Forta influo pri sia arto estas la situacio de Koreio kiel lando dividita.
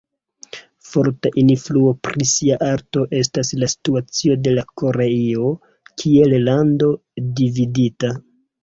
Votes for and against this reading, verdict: 2, 0, accepted